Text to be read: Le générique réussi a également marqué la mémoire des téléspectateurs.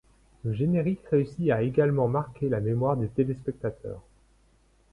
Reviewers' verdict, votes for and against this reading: accepted, 2, 0